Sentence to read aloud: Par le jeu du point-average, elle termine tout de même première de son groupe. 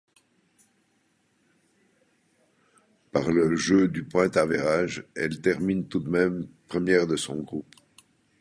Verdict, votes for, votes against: accepted, 2, 1